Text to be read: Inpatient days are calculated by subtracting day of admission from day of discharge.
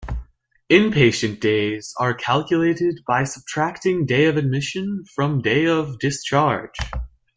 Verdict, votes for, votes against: accepted, 2, 0